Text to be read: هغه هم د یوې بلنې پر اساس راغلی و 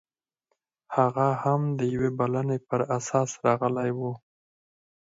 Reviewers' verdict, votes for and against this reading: rejected, 2, 4